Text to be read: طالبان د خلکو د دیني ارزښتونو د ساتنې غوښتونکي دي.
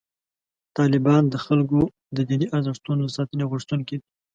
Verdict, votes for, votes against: accepted, 2, 0